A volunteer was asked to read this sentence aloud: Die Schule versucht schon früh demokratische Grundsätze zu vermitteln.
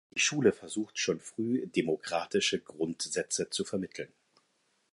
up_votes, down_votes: 0, 4